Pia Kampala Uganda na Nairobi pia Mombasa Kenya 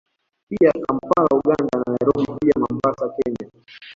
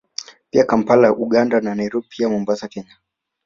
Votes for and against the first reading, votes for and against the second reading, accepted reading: 1, 2, 2, 0, second